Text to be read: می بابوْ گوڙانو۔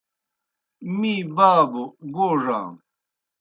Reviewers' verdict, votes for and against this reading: accepted, 2, 0